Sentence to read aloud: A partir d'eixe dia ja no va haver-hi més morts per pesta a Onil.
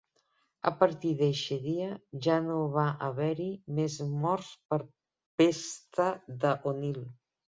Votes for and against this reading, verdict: 0, 2, rejected